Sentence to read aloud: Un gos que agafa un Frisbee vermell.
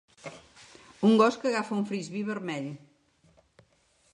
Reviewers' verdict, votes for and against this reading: accepted, 2, 0